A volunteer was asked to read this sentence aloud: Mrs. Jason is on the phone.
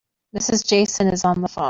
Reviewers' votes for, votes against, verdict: 0, 2, rejected